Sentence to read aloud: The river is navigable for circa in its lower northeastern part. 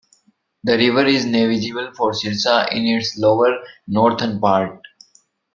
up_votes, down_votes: 1, 2